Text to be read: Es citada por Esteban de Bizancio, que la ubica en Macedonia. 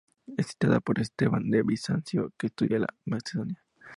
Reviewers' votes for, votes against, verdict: 0, 2, rejected